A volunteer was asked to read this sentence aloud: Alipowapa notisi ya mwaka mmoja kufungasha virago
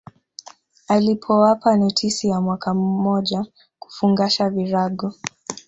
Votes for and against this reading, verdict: 1, 2, rejected